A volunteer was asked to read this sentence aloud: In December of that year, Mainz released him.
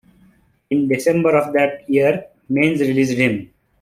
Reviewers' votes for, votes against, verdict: 2, 1, accepted